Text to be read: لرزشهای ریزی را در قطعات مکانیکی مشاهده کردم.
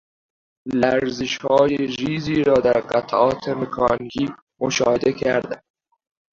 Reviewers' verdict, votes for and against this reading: rejected, 0, 2